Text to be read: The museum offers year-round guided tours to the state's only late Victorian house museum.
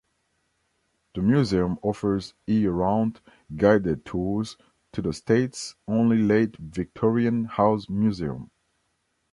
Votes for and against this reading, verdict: 2, 0, accepted